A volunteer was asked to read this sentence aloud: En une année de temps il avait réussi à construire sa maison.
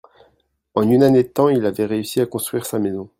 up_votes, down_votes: 2, 0